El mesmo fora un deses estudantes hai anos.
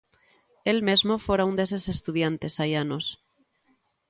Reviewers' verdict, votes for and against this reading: rejected, 0, 2